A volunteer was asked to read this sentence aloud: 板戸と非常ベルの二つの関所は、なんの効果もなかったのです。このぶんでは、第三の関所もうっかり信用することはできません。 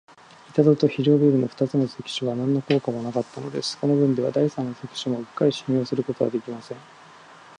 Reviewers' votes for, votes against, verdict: 2, 0, accepted